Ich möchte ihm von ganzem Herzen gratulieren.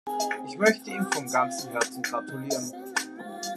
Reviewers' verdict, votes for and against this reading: rejected, 1, 2